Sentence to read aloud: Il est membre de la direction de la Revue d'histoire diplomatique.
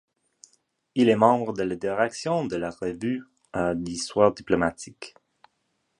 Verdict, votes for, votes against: accepted, 2, 0